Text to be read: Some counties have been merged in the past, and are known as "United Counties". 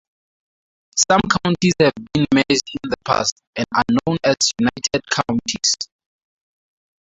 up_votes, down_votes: 0, 2